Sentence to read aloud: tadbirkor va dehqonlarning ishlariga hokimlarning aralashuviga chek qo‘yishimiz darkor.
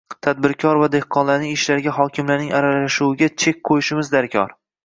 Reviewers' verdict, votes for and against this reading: accepted, 2, 1